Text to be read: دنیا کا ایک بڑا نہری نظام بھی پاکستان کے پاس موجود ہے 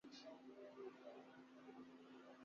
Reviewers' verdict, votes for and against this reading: rejected, 0, 9